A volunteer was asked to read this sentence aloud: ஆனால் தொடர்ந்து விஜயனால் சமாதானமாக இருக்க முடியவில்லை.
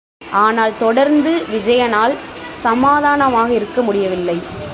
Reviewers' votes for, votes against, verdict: 2, 0, accepted